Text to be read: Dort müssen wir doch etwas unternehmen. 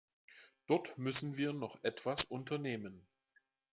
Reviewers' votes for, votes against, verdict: 1, 2, rejected